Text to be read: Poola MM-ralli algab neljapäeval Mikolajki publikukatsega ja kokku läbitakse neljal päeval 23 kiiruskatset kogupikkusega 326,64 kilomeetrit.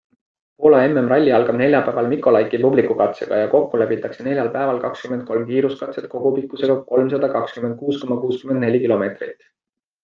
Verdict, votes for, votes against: rejected, 0, 2